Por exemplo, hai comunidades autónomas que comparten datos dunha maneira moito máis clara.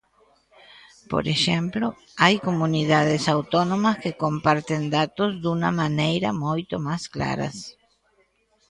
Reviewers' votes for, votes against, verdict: 0, 2, rejected